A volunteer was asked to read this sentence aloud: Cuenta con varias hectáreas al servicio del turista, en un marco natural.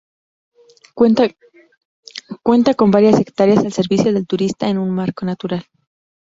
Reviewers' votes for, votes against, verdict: 0, 4, rejected